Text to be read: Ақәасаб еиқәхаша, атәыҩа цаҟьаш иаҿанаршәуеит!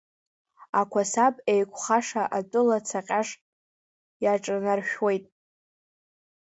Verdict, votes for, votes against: rejected, 1, 2